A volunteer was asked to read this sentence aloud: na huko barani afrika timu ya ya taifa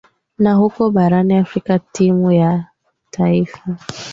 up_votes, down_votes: 2, 0